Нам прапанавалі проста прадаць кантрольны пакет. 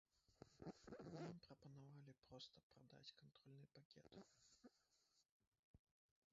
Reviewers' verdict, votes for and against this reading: rejected, 0, 2